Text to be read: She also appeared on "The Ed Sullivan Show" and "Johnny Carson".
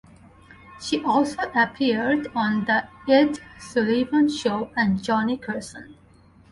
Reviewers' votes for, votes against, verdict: 2, 4, rejected